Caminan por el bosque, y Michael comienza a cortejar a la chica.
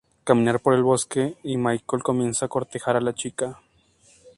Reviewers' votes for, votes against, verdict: 0, 2, rejected